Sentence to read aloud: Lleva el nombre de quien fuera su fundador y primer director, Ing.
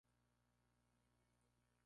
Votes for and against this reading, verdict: 0, 4, rejected